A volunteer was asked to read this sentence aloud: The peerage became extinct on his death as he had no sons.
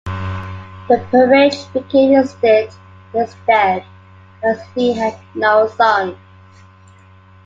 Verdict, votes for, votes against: rejected, 0, 2